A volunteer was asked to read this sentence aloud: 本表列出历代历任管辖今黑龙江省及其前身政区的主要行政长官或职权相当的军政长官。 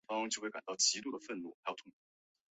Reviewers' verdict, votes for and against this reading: rejected, 0, 2